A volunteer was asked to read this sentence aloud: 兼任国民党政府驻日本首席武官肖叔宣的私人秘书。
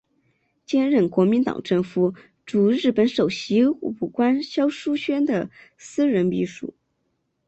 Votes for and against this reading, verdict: 2, 0, accepted